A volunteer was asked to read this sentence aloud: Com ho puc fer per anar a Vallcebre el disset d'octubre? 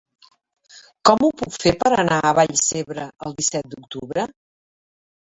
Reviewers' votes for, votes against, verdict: 3, 0, accepted